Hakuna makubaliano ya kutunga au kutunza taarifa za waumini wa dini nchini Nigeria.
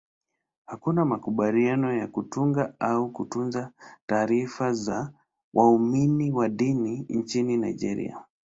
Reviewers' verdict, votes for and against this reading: accepted, 2, 0